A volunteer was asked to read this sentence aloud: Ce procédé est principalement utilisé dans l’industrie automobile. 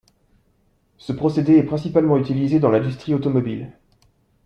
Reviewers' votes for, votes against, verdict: 2, 0, accepted